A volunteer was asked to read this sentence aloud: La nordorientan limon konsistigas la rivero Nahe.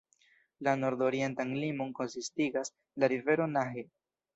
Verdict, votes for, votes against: accepted, 2, 0